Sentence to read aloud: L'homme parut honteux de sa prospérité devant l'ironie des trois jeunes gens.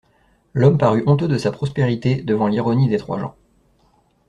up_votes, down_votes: 0, 2